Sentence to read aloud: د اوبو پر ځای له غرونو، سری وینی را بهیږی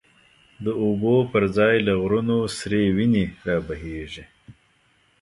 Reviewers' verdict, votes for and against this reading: accepted, 2, 0